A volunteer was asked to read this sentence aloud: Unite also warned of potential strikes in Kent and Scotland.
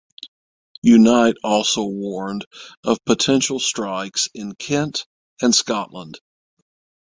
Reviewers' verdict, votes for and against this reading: accepted, 6, 0